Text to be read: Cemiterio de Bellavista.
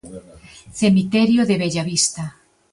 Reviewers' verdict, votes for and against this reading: accepted, 2, 0